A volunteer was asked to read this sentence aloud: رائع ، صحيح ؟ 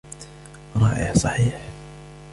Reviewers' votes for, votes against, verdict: 3, 0, accepted